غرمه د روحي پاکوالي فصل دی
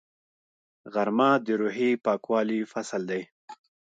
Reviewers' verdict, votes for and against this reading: rejected, 0, 2